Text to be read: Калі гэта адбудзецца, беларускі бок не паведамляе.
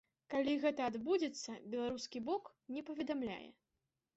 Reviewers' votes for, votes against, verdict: 2, 0, accepted